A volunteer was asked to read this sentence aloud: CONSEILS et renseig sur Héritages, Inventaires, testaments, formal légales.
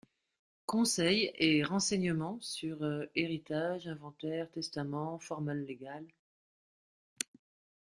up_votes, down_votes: 0, 2